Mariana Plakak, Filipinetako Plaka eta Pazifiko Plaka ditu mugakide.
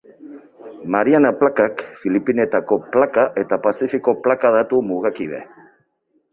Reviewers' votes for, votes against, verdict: 0, 4, rejected